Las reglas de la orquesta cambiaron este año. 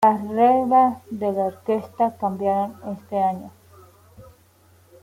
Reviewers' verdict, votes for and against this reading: accepted, 2, 0